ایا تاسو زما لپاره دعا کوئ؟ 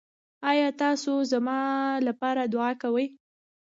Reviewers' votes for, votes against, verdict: 0, 2, rejected